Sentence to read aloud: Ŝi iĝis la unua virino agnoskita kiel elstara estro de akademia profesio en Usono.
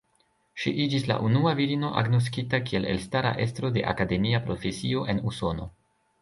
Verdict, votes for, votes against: accepted, 2, 0